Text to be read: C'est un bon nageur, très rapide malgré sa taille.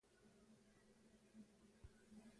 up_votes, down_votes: 0, 2